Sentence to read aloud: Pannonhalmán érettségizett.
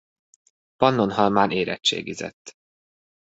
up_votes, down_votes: 2, 0